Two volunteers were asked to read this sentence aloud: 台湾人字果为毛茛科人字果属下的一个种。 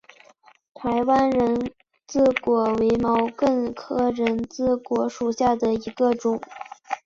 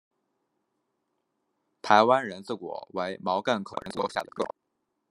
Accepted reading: first